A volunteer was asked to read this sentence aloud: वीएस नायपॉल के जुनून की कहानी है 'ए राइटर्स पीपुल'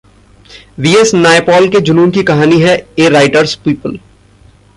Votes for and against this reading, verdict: 2, 0, accepted